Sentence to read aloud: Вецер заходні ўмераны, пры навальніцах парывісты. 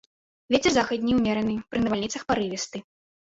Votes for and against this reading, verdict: 1, 2, rejected